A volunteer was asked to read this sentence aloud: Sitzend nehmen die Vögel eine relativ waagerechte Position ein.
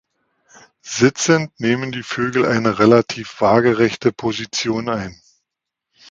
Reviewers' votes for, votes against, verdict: 2, 0, accepted